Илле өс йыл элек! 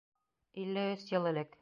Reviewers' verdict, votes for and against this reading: accepted, 2, 0